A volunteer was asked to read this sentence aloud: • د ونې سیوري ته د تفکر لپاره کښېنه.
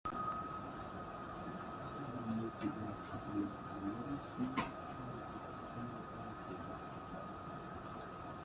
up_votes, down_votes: 0, 2